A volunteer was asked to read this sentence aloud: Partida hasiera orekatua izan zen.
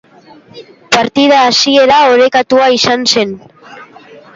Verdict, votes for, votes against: accepted, 2, 1